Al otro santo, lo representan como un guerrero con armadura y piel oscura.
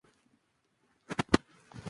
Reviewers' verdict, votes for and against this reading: rejected, 0, 2